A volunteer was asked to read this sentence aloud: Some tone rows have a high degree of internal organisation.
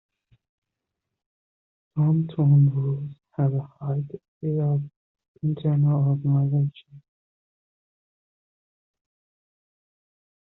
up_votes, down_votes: 0, 2